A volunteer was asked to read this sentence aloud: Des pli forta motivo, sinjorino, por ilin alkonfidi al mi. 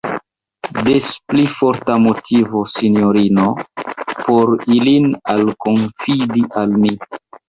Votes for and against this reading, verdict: 1, 2, rejected